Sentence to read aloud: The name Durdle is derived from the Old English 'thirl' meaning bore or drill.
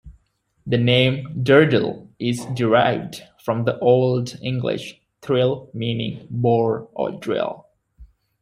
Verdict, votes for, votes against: rejected, 1, 2